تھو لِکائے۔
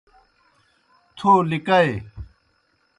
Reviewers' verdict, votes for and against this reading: accepted, 2, 0